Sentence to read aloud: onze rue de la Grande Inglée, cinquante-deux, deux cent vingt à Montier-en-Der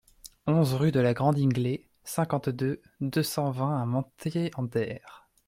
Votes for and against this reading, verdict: 0, 2, rejected